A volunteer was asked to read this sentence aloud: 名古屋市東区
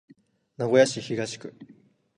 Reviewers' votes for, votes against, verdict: 2, 0, accepted